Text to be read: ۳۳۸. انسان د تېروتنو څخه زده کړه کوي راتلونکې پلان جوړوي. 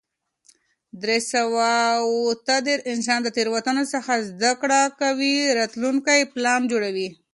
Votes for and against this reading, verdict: 0, 2, rejected